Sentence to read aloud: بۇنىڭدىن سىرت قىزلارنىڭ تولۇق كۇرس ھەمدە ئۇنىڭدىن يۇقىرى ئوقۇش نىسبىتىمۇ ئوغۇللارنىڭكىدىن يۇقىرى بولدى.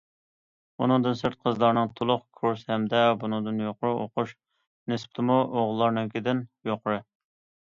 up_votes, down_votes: 0, 2